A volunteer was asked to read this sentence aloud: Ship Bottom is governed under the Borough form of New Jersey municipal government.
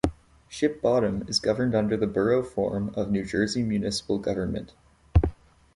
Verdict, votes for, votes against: accepted, 2, 0